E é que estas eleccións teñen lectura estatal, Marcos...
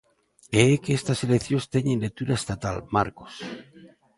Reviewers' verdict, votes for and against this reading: accepted, 3, 0